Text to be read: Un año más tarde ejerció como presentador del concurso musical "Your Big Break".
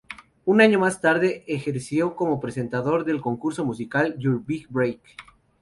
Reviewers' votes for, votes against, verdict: 0, 2, rejected